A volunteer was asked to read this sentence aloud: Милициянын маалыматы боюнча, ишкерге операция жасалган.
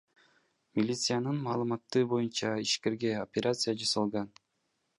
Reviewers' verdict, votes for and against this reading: accepted, 2, 1